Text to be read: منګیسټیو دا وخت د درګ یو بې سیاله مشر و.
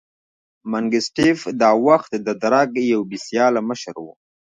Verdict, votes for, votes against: rejected, 1, 2